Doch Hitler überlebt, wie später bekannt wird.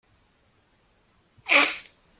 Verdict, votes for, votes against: rejected, 0, 2